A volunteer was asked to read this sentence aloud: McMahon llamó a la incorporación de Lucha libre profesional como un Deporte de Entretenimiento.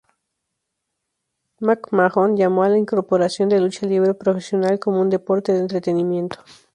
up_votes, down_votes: 2, 0